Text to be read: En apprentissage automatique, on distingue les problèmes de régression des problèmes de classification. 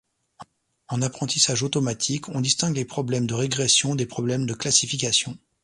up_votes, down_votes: 1, 2